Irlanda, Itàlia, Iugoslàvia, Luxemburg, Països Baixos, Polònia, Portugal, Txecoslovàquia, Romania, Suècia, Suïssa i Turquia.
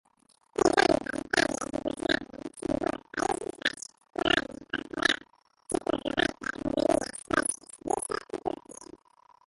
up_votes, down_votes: 0, 2